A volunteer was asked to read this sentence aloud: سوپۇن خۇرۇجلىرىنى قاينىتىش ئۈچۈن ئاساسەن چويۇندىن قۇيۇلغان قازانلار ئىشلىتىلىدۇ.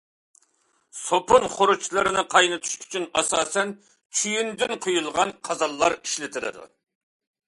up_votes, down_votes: 2, 0